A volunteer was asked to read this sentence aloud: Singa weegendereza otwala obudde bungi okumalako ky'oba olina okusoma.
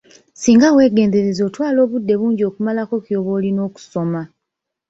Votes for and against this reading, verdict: 2, 0, accepted